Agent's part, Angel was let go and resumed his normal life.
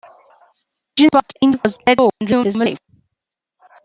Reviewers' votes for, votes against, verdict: 1, 2, rejected